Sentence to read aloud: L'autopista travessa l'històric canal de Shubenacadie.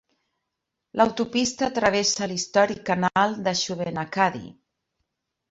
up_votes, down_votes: 0, 2